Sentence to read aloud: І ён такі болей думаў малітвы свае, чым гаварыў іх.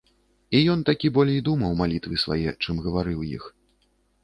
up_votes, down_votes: 2, 0